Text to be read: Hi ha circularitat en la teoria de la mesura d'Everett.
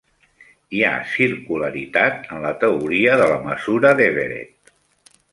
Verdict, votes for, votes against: accepted, 3, 1